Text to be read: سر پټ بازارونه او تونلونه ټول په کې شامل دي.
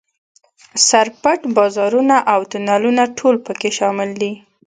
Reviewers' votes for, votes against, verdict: 2, 0, accepted